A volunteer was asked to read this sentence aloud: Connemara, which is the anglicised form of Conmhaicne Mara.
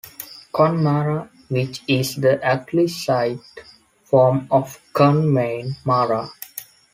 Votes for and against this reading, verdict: 1, 2, rejected